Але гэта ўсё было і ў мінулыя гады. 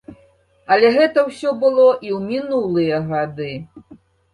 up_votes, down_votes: 2, 0